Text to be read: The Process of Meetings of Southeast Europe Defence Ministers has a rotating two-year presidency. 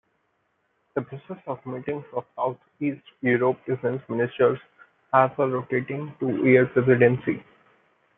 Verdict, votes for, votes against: accepted, 2, 0